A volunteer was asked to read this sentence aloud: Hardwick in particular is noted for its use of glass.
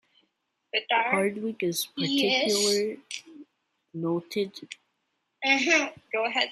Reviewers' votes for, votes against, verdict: 0, 2, rejected